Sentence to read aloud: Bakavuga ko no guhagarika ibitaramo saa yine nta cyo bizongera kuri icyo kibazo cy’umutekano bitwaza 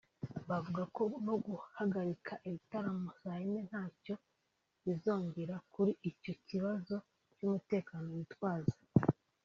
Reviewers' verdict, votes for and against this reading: rejected, 1, 2